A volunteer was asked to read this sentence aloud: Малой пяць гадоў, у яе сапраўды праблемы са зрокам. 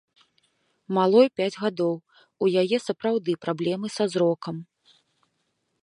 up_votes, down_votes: 2, 0